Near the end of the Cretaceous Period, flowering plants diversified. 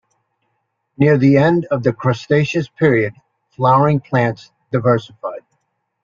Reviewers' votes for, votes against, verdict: 0, 2, rejected